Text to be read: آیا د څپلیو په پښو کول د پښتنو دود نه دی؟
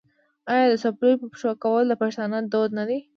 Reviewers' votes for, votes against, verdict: 2, 0, accepted